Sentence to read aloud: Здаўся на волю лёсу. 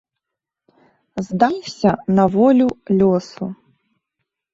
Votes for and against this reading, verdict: 1, 2, rejected